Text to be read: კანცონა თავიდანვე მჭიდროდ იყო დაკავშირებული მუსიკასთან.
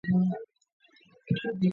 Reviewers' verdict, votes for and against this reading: rejected, 0, 3